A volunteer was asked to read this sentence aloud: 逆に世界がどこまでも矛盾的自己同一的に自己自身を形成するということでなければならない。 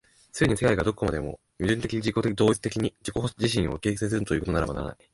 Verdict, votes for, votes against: rejected, 0, 2